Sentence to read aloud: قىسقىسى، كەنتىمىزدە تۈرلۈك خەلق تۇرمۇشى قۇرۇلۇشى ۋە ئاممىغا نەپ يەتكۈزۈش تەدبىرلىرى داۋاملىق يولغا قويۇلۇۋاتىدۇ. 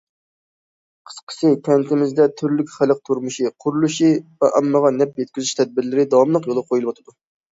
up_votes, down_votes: 2, 0